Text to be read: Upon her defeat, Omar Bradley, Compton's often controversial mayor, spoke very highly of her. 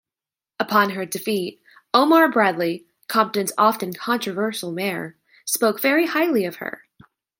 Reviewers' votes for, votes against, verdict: 2, 0, accepted